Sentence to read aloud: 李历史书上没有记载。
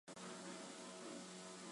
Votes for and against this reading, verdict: 3, 4, rejected